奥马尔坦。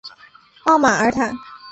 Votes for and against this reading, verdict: 2, 0, accepted